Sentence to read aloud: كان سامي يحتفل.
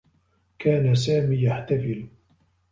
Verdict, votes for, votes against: accepted, 2, 1